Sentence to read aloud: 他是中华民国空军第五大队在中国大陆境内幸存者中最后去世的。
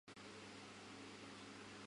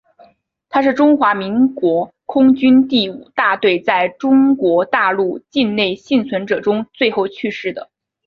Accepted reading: second